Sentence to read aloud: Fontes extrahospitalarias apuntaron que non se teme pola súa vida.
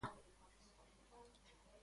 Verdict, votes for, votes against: rejected, 0, 2